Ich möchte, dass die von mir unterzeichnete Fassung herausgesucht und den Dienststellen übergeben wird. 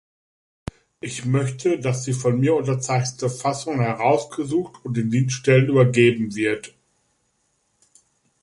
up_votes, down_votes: 1, 2